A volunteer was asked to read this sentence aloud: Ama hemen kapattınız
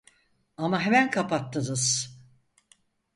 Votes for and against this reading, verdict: 4, 0, accepted